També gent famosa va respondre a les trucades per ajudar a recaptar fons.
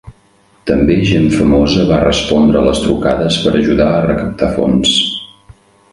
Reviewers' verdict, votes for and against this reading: accepted, 3, 0